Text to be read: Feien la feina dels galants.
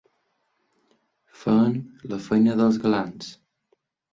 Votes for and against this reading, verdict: 0, 2, rejected